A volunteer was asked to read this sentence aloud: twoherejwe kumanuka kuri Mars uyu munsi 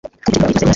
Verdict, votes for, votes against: rejected, 0, 2